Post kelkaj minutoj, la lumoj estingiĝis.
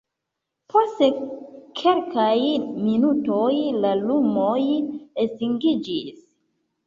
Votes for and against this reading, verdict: 1, 2, rejected